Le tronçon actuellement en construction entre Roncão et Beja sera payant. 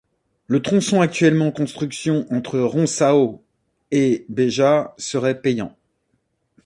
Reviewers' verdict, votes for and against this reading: accepted, 2, 1